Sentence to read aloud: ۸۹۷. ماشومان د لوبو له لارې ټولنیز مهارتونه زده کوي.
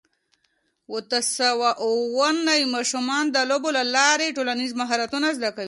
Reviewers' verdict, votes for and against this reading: rejected, 0, 2